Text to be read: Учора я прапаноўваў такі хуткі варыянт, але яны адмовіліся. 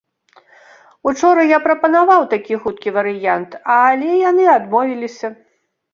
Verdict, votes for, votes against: rejected, 0, 2